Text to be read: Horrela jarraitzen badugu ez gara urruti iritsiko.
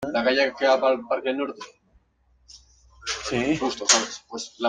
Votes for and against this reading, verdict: 0, 2, rejected